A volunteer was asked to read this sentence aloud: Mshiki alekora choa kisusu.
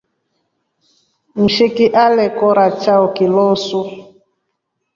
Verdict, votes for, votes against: rejected, 1, 4